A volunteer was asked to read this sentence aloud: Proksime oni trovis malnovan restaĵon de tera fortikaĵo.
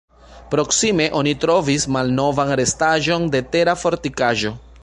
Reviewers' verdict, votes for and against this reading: rejected, 1, 2